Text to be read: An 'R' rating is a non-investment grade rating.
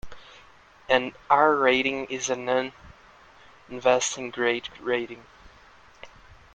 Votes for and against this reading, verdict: 1, 2, rejected